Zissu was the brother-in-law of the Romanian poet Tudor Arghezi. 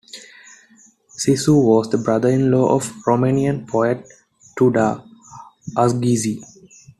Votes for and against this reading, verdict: 0, 2, rejected